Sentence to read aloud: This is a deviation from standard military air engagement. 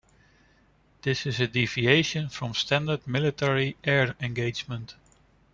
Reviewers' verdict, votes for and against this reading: accepted, 2, 0